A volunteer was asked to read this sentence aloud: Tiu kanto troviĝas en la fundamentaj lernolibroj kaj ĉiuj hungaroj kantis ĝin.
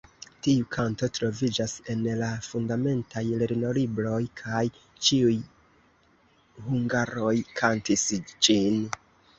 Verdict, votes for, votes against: accepted, 2, 0